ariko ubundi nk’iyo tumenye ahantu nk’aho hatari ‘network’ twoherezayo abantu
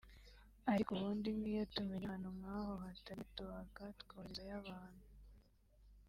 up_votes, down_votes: 3, 1